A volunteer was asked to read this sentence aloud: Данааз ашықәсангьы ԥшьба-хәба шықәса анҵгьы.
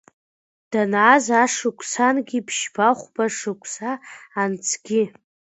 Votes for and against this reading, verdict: 2, 0, accepted